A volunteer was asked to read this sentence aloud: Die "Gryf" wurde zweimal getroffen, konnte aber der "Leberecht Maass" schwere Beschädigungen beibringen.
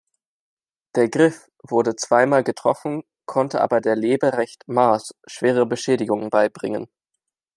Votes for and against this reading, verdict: 2, 0, accepted